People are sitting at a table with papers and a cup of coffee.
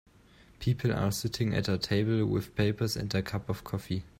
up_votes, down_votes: 2, 1